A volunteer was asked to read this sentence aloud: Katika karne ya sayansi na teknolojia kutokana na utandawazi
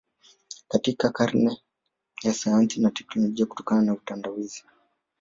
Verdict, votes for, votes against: rejected, 1, 2